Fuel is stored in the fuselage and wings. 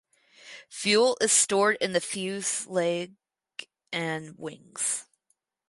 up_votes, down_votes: 0, 2